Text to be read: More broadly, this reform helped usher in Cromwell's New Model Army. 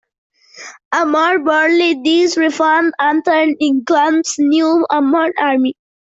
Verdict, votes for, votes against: rejected, 0, 2